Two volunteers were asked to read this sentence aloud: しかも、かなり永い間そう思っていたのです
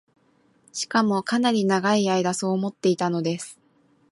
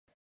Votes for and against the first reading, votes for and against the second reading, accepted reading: 2, 0, 0, 2, first